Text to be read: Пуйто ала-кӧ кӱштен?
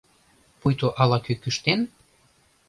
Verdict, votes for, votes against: rejected, 1, 2